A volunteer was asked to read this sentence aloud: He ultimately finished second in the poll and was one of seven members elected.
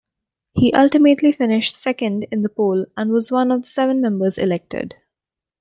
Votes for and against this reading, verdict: 2, 0, accepted